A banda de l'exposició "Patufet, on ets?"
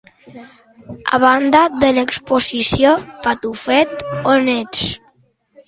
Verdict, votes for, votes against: accepted, 2, 0